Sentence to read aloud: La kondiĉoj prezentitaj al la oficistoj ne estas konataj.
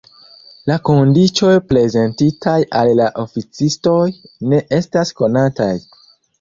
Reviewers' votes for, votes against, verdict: 0, 2, rejected